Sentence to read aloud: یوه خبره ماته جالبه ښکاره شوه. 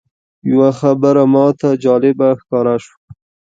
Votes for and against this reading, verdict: 2, 0, accepted